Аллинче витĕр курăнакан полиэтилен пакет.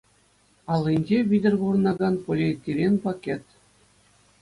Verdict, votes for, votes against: accepted, 2, 0